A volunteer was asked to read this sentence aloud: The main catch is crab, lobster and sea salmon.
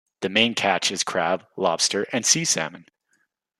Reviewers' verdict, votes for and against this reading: accepted, 2, 0